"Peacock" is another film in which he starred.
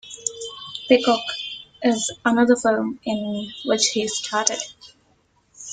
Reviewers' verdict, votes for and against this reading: rejected, 1, 2